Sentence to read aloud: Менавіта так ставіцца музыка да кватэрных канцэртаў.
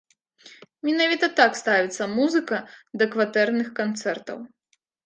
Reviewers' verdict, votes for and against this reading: rejected, 1, 2